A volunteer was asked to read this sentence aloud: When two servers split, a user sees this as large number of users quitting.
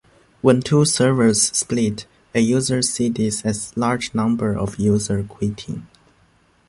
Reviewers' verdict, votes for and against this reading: rejected, 1, 2